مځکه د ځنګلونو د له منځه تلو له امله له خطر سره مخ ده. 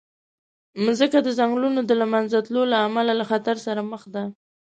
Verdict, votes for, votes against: accepted, 2, 0